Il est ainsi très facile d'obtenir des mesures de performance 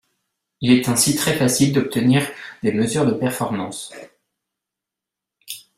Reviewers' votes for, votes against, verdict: 2, 1, accepted